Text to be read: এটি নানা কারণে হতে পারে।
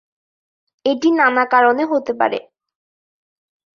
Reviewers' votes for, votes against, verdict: 2, 0, accepted